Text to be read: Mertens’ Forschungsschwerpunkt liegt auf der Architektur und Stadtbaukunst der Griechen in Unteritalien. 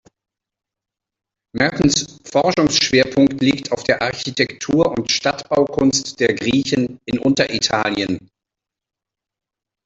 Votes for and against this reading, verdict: 1, 2, rejected